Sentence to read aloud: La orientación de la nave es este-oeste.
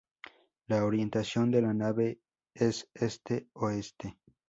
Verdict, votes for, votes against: accepted, 2, 0